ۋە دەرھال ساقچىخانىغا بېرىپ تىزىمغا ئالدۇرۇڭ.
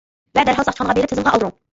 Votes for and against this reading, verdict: 0, 2, rejected